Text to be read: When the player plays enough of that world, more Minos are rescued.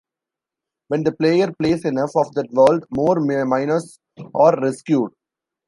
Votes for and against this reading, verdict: 0, 2, rejected